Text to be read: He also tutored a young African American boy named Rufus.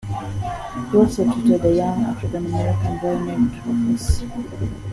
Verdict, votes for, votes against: accepted, 2, 0